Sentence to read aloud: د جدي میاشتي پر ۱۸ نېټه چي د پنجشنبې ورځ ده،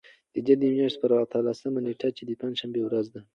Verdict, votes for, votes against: rejected, 0, 2